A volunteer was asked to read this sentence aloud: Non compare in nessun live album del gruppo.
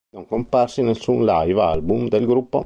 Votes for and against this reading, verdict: 0, 2, rejected